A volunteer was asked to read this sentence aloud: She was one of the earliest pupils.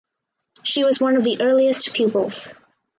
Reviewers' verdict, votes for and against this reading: accepted, 4, 0